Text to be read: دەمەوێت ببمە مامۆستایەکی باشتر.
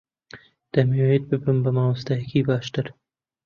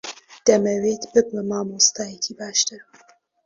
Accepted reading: second